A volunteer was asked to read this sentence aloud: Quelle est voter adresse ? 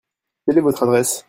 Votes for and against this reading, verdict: 0, 2, rejected